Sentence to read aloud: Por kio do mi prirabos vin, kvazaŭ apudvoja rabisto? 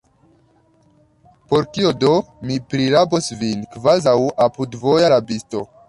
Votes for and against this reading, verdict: 1, 2, rejected